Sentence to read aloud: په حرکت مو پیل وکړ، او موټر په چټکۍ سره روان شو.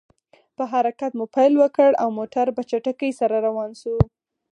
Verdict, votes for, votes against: accepted, 4, 0